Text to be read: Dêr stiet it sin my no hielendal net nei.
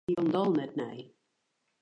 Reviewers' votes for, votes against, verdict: 0, 2, rejected